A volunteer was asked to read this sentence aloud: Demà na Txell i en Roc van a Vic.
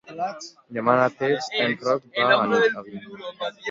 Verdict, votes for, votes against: rejected, 0, 2